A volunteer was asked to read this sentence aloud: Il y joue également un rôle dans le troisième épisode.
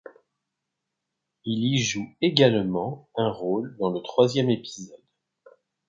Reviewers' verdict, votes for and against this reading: accepted, 2, 0